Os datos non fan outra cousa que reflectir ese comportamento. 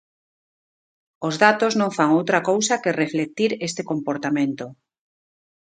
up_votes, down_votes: 1, 2